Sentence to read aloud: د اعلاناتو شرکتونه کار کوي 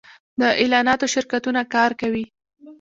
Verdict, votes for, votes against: accepted, 2, 0